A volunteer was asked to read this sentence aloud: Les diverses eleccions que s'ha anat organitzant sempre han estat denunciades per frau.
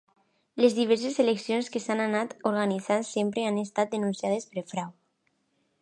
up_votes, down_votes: 2, 1